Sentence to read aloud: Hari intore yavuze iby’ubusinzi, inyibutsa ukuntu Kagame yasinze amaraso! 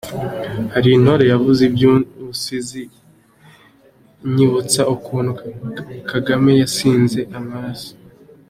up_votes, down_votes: 2, 0